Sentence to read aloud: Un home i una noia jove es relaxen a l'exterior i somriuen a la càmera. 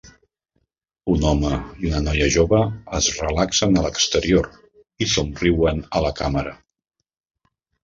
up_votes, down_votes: 3, 0